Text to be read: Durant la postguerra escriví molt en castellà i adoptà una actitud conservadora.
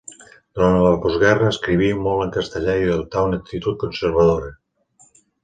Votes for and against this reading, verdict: 1, 2, rejected